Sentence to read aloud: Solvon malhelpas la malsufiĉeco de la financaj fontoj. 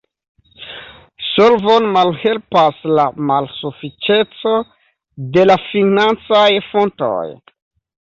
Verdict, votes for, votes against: rejected, 1, 2